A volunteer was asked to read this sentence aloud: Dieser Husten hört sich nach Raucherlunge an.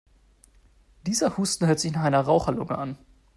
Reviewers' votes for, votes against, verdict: 0, 2, rejected